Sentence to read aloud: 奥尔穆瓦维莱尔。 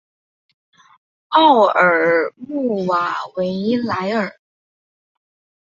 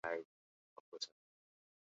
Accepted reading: first